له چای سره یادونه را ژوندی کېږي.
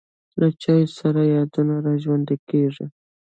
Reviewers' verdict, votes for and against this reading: rejected, 0, 2